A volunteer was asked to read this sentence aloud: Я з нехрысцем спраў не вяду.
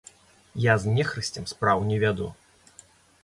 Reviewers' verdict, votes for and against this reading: accepted, 2, 0